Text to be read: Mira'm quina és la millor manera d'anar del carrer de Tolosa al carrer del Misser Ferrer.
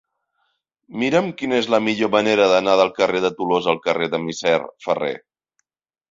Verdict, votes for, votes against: accepted, 2, 0